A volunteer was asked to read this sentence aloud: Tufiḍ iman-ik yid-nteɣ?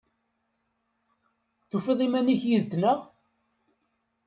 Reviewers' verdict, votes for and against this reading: rejected, 0, 2